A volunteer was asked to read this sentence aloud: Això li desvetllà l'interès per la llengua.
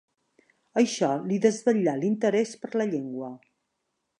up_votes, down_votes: 2, 0